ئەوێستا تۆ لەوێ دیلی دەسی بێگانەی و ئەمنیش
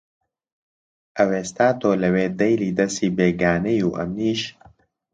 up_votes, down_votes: 1, 2